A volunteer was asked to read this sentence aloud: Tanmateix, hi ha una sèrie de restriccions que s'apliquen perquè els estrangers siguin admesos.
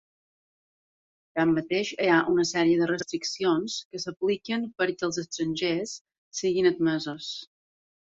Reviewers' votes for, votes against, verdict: 1, 2, rejected